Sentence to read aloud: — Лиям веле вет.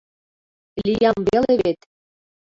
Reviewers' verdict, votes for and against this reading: rejected, 1, 2